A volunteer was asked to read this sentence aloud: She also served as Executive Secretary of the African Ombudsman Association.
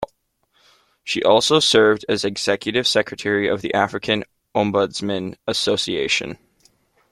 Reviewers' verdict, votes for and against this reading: accepted, 2, 0